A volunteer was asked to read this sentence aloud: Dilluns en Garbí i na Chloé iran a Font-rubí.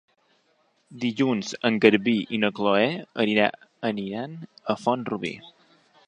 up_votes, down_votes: 0, 2